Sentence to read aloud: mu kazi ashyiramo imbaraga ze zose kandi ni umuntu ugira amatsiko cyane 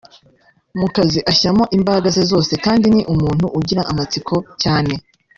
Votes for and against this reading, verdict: 2, 1, accepted